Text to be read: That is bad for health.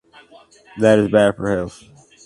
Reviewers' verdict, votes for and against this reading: rejected, 0, 2